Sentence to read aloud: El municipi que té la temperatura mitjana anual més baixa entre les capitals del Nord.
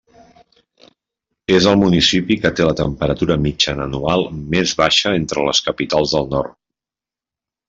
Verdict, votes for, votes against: rejected, 1, 2